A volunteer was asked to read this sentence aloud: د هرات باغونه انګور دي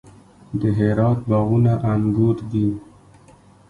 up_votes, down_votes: 2, 1